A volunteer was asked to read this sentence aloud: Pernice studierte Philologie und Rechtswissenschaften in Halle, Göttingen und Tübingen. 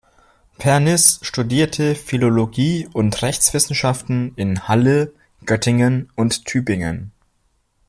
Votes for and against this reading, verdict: 2, 0, accepted